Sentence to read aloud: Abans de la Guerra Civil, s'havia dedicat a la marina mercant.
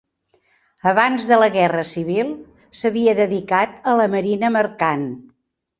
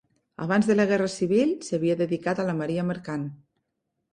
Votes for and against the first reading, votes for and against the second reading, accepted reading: 4, 0, 0, 2, first